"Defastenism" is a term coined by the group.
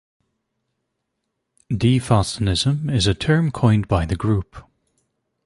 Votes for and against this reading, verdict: 2, 0, accepted